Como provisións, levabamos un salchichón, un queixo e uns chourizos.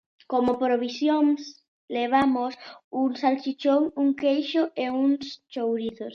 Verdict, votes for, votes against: rejected, 0, 2